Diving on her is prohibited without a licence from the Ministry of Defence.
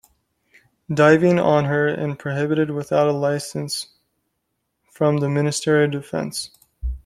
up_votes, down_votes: 0, 2